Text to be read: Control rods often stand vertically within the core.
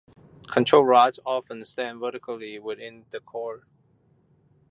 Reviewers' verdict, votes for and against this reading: accepted, 2, 0